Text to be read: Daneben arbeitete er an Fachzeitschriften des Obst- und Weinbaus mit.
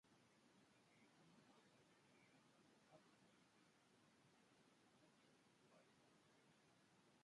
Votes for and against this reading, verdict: 0, 2, rejected